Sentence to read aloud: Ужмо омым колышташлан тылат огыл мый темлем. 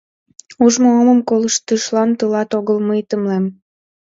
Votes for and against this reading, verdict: 1, 2, rejected